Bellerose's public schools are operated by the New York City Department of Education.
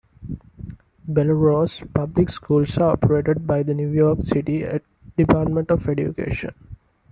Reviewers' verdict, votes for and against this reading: rejected, 1, 2